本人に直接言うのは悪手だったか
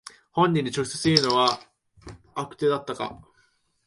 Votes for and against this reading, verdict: 2, 0, accepted